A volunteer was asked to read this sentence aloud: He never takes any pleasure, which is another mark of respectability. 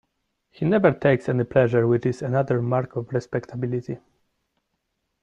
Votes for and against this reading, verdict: 1, 2, rejected